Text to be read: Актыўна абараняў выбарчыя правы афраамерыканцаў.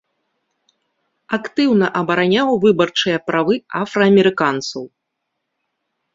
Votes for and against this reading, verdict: 2, 0, accepted